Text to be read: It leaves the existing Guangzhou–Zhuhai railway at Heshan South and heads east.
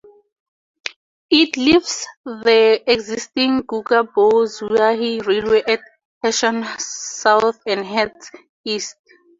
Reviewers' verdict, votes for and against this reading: rejected, 0, 4